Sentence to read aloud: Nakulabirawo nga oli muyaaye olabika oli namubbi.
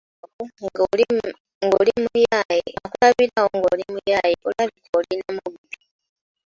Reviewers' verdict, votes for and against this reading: rejected, 0, 2